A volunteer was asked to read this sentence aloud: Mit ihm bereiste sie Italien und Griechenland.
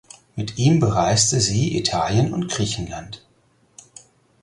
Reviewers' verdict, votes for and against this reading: accepted, 4, 2